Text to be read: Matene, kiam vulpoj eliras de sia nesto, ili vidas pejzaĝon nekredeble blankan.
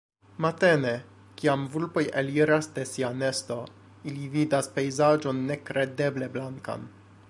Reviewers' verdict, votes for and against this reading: accepted, 2, 0